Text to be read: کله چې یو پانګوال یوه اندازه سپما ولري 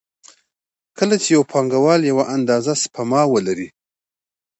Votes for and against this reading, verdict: 2, 0, accepted